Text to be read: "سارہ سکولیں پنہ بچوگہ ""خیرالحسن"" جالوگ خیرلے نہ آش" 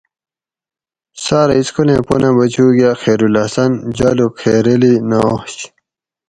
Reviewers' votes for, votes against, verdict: 2, 2, rejected